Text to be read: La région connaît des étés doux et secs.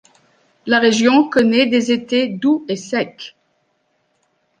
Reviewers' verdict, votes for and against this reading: rejected, 0, 2